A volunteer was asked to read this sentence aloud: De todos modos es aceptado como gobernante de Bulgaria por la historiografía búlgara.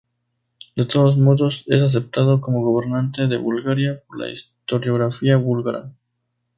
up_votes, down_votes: 2, 0